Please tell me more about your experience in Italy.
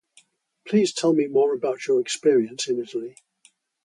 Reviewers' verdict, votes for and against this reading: rejected, 0, 2